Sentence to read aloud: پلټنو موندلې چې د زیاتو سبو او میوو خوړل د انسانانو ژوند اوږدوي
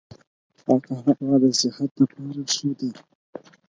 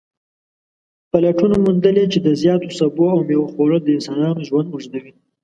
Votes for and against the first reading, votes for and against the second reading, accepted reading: 0, 4, 2, 0, second